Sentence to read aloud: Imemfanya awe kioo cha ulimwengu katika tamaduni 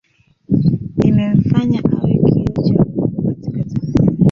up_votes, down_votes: 0, 2